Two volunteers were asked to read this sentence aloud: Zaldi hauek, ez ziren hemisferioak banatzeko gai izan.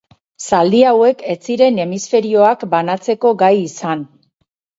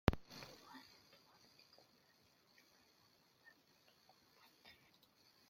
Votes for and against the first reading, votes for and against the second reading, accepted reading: 6, 2, 0, 2, first